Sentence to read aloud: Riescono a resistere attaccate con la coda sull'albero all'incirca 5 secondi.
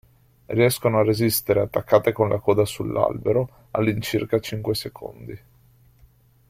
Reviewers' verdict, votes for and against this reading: rejected, 0, 2